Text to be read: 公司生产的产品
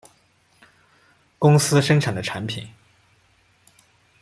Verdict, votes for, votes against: accepted, 2, 0